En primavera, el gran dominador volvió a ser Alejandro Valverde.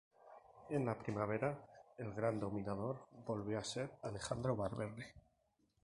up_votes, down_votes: 0, 2